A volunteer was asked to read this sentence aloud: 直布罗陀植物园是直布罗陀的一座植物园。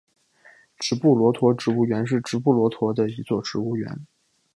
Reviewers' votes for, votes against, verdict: 1, 2, rejected